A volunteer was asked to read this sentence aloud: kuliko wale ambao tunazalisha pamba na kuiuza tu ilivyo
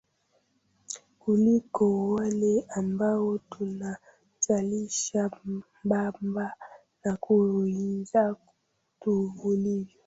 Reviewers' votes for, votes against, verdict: 0, 2, rejected